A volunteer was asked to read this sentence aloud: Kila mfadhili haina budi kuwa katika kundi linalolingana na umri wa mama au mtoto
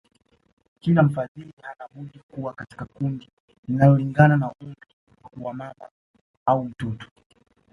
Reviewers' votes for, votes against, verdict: 1, 2, rejected